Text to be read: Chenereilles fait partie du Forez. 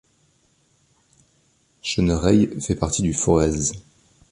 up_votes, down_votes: 2, 0